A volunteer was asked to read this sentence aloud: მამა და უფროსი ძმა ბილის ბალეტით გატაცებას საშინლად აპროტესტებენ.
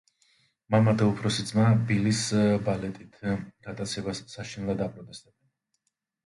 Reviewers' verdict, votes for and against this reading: rejected, 1, 2